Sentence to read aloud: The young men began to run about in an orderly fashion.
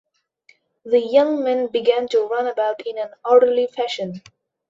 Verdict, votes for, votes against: accepted, 2, 0